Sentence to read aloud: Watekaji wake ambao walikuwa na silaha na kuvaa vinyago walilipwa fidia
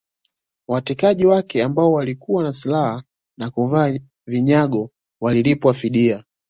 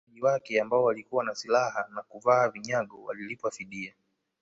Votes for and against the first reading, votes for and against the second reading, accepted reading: 2, 0, 4, 5, first